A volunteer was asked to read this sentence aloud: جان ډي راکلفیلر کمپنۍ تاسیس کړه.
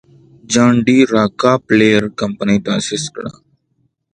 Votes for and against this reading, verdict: 2, 0, accepted